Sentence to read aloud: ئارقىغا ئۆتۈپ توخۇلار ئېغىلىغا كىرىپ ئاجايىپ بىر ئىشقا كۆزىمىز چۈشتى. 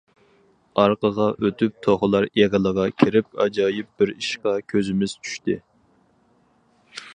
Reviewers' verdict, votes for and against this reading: accepted, 4, 0